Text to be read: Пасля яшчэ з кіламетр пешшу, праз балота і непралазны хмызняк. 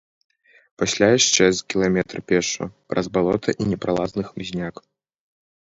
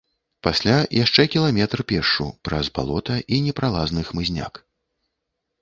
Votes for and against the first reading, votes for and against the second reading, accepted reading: 2, 0, 0, 2, first